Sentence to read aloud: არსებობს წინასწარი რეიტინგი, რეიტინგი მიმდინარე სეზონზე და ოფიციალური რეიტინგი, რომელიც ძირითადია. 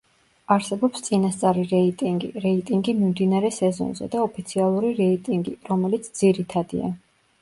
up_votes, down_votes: 0, 2